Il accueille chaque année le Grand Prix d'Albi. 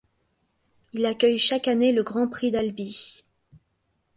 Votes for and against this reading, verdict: 2, 0, accepted